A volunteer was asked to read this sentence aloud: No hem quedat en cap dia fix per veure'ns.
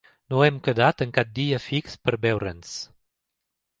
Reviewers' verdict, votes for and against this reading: accepted, 2, 0